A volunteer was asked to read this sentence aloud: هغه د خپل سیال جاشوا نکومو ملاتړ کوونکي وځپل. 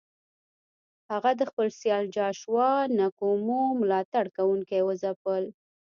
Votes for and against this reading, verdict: 0, 2, rejected